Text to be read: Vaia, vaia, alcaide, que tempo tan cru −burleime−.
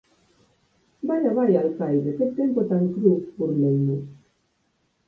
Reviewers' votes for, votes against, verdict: 4, 2, accepted